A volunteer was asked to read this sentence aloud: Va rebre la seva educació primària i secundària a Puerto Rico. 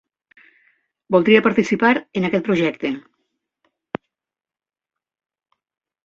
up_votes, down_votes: 0, 2